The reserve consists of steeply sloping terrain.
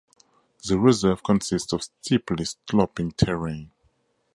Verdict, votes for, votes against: rejected, 0, 4